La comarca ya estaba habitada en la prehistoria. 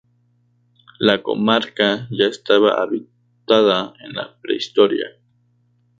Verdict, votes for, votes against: rejected, 0, 4